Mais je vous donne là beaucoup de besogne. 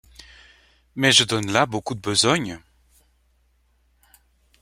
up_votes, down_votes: 0, 2